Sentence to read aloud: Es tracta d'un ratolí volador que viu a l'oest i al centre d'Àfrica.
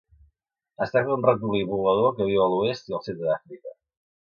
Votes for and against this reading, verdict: 2, 0, accepted